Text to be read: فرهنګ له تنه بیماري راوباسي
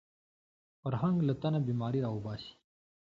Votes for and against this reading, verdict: 2, 0, accepted